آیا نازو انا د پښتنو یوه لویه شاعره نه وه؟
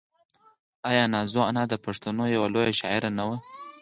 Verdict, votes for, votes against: rejected, 2, 4